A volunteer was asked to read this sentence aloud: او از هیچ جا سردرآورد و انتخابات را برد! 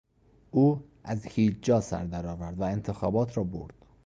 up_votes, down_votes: 2, 0